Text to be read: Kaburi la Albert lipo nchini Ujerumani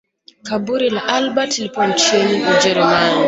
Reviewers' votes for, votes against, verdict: 2, 1, accepted